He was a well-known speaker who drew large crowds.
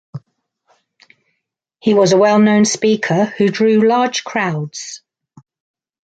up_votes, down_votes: 2, 0